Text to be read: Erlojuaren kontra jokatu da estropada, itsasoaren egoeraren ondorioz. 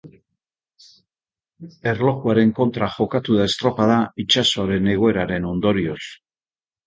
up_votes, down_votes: 2, 0